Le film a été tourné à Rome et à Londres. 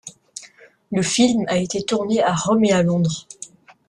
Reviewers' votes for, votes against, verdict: 2, 0, accepted